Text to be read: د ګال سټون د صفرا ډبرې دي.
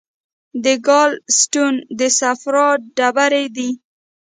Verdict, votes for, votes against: rejected, 1, 2